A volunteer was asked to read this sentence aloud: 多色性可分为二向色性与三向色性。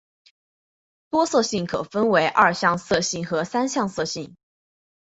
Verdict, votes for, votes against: rejected, 0, 2